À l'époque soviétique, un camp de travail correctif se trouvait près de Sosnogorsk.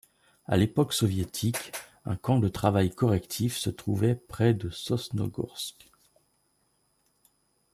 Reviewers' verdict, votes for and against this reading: rejected, 1, 2